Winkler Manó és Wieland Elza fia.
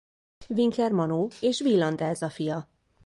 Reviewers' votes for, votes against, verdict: 2, 0, accepted